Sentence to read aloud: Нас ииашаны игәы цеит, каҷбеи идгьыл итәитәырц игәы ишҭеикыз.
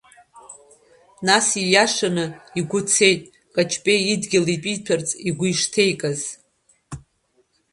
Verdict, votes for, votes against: rejected, 0, 2